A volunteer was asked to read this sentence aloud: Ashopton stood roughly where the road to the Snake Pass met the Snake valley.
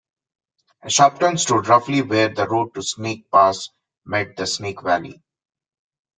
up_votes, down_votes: 2, 0